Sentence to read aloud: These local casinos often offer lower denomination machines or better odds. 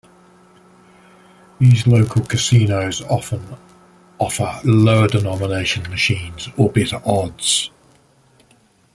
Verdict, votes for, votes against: rejected, 0, 2